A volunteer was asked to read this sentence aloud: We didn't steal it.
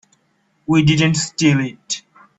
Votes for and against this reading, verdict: 3, 0, accepted